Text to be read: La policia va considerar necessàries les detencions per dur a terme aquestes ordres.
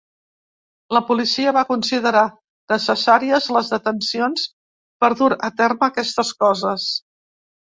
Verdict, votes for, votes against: rejected, 0, 2